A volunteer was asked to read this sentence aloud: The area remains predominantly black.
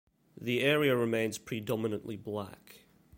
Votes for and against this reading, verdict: 2, 0, accepted